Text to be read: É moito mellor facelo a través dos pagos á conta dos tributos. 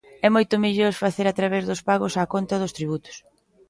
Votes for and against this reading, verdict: 1, 2, rejected